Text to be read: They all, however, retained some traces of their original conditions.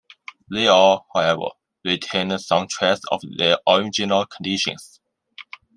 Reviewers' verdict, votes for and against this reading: rejected, 0, 2